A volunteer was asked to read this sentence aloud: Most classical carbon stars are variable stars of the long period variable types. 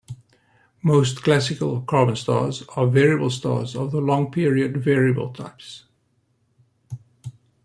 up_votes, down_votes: 2, 0